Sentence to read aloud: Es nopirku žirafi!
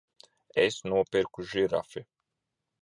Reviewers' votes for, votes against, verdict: 0, 2, rejected